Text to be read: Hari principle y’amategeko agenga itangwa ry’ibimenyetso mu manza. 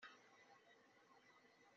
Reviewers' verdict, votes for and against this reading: rejected, 0, 3